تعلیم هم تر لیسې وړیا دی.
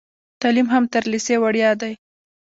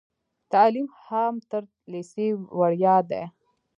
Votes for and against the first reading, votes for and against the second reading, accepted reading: 1, 3, 2, 1, second